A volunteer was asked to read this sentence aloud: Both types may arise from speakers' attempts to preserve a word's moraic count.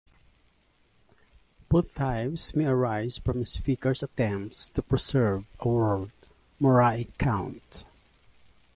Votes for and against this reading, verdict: 2, 3, rejected